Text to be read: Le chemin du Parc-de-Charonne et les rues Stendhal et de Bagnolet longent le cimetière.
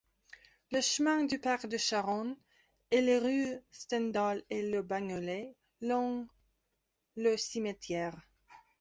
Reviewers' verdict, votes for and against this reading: rejected, 1, 2